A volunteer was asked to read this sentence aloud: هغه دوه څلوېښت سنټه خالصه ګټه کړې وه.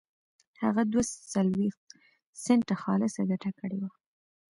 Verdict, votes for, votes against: rejected, 0, 2